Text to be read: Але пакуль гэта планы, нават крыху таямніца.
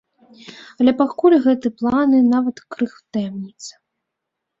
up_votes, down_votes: 0, 2